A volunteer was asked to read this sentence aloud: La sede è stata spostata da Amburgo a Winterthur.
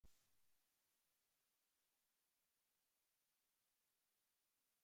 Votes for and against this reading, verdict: 0, 2, rejected